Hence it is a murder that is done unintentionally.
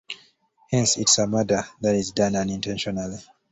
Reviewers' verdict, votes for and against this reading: accepted, 2, 0